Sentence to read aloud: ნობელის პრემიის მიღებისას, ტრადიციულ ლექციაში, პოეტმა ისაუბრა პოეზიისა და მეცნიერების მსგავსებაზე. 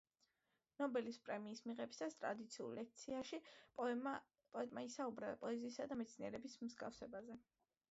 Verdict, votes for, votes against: accepted, 3, 1